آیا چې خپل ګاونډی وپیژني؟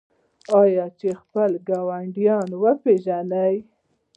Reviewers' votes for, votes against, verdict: 0, 2, rejected